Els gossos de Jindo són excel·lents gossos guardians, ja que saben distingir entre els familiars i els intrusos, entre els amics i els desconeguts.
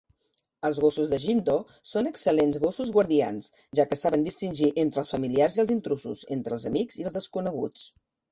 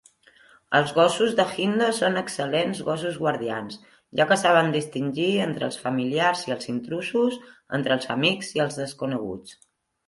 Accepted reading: first